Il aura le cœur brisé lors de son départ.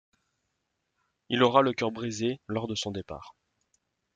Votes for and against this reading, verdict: 2, 0, accepted